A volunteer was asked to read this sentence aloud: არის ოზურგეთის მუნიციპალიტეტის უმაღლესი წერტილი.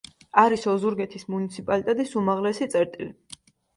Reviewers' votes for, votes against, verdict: 2, 0, accepted